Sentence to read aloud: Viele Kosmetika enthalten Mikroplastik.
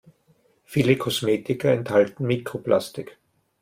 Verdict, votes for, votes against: accepted, 2, 0